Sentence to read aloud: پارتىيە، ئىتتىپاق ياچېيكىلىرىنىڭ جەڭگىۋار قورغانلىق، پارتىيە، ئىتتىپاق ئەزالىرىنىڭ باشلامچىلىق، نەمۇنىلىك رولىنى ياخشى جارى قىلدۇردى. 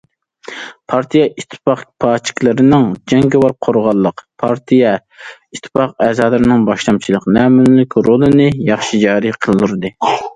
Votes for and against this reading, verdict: 0, 2, rejected